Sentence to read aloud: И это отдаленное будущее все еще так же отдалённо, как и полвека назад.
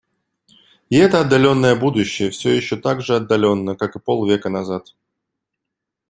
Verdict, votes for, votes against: accepted, 2, 0